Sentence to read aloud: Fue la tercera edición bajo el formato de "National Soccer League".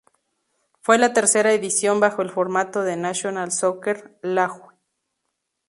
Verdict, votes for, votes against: rejected, 0, 2